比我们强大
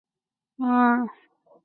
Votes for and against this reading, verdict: 2, 9, rejected